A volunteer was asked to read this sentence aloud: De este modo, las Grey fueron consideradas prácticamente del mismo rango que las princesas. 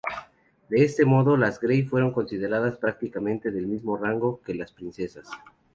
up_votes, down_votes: 2, 0